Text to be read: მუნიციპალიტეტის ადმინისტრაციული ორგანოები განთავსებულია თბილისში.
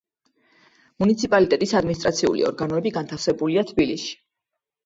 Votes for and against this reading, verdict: 1, 2, rejected